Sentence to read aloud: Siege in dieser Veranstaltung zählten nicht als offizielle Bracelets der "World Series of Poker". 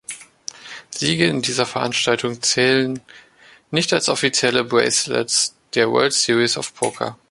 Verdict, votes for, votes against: rejected, 0, 2